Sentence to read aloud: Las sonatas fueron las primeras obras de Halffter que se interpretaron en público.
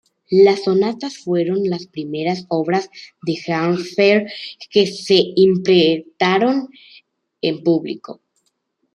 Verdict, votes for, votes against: rejected, 0, 2